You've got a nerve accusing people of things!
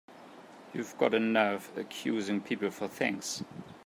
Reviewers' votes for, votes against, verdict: 1, 2, rejected